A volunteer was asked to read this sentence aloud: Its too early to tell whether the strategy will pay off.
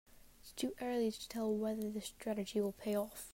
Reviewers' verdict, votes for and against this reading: accepted, 2, 1